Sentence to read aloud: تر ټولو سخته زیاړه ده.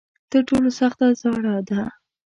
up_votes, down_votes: 2, 1